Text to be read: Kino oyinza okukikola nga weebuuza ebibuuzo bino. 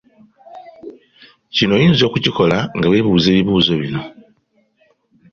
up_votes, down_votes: 3, 0